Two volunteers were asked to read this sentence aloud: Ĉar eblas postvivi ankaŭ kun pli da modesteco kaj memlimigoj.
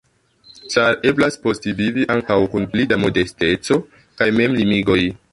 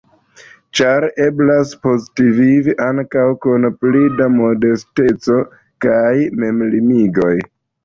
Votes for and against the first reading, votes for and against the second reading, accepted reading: 2, 0, 1, 2, first